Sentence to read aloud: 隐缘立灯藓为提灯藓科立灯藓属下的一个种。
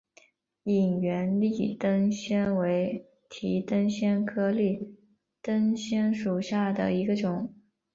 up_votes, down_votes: 2, 0